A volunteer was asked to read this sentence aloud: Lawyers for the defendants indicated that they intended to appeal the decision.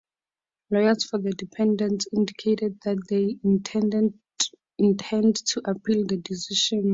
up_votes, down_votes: 2, 0